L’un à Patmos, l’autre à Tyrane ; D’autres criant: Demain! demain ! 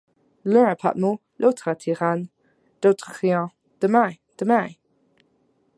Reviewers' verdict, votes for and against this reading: rejected, 0, 2